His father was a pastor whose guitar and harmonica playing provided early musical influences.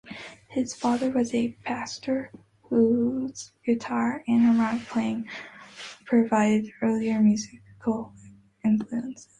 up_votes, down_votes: 0, 2